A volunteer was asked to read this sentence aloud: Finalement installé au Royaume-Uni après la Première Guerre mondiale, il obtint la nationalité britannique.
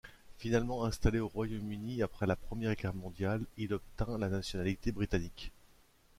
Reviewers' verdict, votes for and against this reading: accepted, 2, 0